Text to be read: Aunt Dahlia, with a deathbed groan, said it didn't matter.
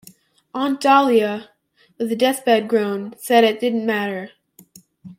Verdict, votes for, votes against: accepted, 2, 0